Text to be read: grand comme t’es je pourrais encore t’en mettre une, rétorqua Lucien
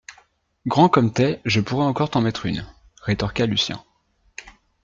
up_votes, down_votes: 2, 0